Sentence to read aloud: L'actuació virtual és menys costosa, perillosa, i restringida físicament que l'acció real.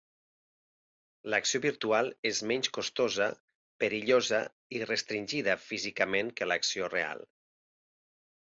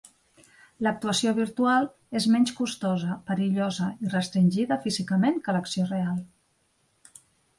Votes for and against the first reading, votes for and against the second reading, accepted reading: 0, 2, 2, 0, second